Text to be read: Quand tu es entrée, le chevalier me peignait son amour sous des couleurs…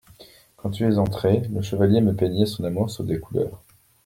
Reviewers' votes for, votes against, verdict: 2, 0, accepted